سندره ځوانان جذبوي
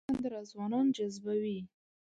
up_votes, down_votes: 1, 2